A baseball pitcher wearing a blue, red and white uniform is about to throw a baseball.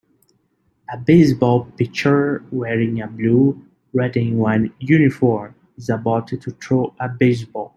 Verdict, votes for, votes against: rejected, 0, 3